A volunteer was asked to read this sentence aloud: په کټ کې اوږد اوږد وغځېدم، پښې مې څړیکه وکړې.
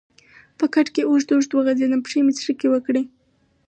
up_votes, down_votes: 2, 2